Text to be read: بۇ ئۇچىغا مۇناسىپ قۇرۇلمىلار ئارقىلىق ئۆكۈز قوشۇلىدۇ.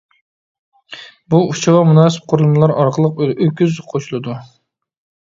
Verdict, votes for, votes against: rejected, 0, 2